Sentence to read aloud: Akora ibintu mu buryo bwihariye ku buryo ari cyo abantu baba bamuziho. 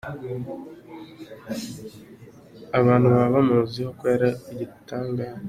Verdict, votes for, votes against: rejected, 0, 2